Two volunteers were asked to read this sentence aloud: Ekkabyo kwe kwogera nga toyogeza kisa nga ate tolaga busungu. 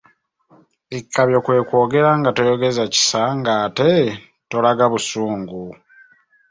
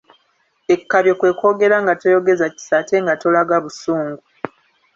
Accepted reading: first